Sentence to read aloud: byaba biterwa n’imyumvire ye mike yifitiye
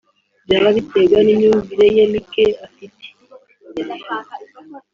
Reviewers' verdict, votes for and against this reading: rejected, 1, 3